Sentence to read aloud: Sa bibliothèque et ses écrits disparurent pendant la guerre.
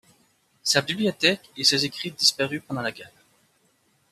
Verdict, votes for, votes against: rejected, 0, 2